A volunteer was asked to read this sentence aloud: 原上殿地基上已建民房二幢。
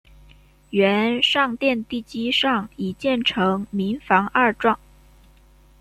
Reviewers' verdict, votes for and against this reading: rejected, 0, 2